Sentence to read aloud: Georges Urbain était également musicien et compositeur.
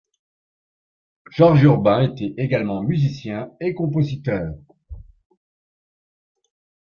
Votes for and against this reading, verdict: 2, 0, accepted